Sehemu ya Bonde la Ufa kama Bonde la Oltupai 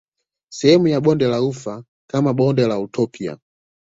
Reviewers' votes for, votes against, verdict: 1, 2, rejected